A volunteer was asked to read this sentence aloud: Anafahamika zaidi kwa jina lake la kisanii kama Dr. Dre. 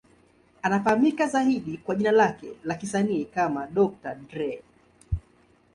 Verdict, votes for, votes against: accepted, 2, 0